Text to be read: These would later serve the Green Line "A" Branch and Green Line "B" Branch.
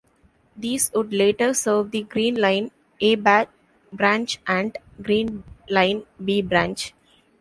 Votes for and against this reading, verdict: 0, 2, rejected